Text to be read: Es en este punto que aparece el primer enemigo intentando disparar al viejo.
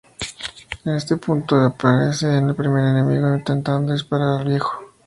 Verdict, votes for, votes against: rejected, 0, 2